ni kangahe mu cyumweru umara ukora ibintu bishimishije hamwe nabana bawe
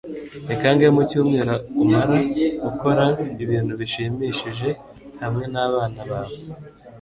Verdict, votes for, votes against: rejected, 1, 2